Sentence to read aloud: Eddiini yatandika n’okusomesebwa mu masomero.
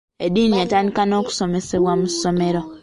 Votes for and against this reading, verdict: 2, 0, accepted